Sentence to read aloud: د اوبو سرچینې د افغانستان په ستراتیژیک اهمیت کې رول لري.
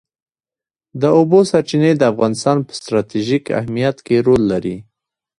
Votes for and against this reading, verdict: 0, 2, rejected